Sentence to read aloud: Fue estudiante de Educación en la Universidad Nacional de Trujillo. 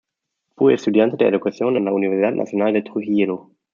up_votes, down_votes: 1, 2